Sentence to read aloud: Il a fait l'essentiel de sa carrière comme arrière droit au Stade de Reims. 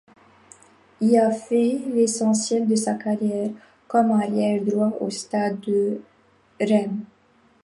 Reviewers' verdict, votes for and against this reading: rejected, 1, 2